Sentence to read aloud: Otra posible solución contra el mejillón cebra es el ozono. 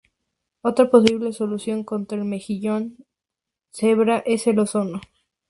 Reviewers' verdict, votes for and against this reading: rejected, 2, 2